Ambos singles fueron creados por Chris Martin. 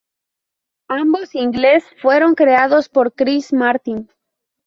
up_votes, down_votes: 0, 2